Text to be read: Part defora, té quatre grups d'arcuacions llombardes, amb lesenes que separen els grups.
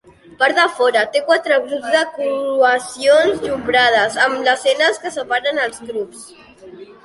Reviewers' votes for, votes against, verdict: 0, 2, rejected